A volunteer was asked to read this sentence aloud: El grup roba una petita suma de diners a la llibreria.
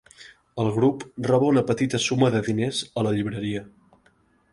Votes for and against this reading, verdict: 3, 0, accepted